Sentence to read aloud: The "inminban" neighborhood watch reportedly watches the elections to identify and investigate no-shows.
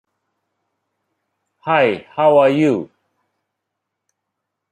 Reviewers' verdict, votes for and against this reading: rejected, 0, 2